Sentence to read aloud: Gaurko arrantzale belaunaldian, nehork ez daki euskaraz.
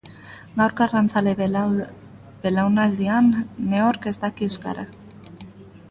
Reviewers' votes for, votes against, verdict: 0, 2, rejected